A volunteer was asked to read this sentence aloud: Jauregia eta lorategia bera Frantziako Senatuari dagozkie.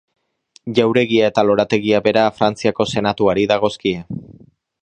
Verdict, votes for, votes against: accepted, 2, 0